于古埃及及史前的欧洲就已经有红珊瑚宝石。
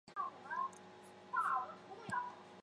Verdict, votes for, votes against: rejected, 0, 2